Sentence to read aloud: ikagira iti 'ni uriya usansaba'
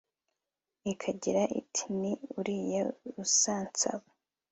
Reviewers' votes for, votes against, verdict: 2, 0, accepted